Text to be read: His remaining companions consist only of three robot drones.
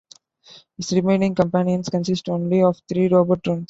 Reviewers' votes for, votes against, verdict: 2, 1, accepted